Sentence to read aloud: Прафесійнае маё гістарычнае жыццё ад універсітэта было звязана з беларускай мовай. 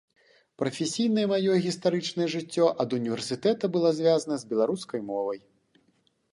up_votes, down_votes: 2, 0